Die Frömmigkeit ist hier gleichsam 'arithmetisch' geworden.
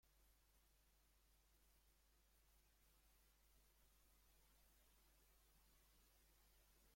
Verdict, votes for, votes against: rejected, 0, 2